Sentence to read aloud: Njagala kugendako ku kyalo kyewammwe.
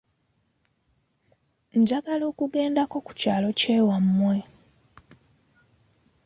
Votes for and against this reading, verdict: 2, 0, accepted